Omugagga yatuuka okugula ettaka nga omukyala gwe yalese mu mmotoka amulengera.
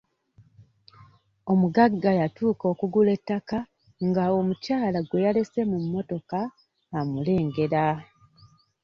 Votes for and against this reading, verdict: 2, 0, accepted